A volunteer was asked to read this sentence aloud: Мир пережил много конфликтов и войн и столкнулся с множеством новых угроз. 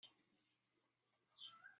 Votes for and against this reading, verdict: 0, 2, rejected